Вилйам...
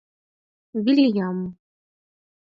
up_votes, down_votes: 4, 2